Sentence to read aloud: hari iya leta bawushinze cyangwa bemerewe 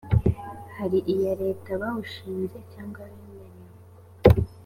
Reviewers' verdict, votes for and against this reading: accepted, 2, 1